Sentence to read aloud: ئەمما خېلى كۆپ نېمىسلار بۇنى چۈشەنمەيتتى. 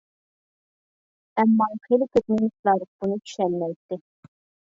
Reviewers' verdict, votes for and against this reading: rejected, 0, 2